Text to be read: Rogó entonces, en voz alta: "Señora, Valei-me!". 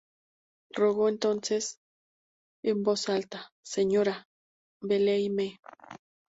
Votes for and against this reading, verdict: 4, 0, accepted